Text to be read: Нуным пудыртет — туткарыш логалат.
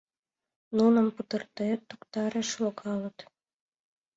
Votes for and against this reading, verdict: 0, 2, rejected